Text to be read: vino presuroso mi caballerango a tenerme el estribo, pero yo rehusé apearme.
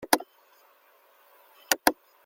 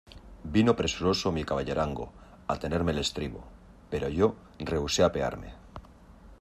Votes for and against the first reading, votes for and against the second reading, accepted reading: 0, 2, 2, 0, second